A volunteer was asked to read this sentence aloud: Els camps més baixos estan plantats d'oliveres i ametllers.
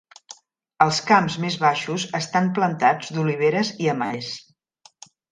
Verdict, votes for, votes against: rejected, 0, 2